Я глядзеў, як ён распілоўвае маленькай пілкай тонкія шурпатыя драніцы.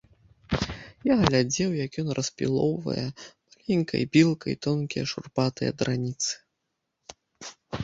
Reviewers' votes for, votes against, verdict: 1, 2, rejected